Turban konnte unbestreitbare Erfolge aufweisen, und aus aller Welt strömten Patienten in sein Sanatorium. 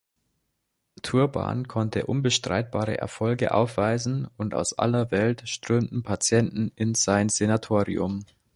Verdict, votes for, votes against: rejected, 0, 2